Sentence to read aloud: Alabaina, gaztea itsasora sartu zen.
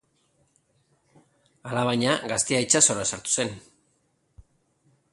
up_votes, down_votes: 3, 0